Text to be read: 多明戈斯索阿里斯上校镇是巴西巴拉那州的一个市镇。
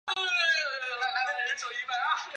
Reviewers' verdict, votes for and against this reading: rejected, 0, 3